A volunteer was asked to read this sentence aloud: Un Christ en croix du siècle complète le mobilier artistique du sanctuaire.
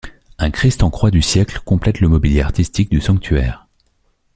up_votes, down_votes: 2, 0